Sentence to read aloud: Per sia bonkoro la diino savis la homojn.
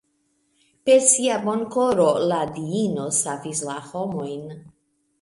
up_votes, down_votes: 3, 0